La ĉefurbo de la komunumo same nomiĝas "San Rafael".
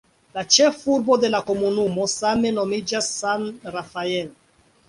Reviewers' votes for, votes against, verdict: 2, 1, accepted